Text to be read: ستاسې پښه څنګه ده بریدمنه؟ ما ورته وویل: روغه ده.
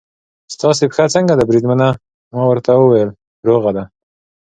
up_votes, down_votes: 2, 0